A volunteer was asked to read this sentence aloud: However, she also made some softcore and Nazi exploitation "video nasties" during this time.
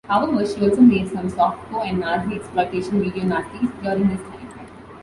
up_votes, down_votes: 1, 2